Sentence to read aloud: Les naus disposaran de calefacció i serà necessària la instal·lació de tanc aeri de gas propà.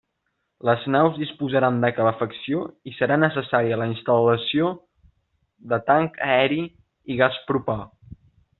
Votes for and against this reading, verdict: 2, 4, rejected